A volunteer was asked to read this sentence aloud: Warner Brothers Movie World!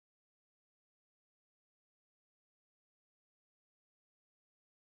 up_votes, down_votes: 0, 2